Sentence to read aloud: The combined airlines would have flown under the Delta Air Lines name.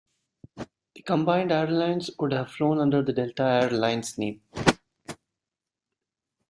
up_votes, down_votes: 1, 2